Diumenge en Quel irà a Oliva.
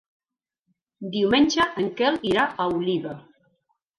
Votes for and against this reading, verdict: 2, 0, accepted